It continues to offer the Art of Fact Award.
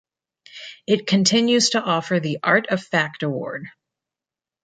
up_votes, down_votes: 2, 0